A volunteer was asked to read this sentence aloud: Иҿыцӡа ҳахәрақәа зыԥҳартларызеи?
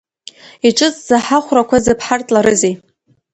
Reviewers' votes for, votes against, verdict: 0, 2, rejected